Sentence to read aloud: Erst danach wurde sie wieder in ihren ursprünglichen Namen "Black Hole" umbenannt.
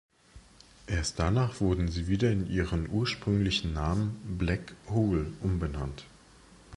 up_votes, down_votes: 3, 1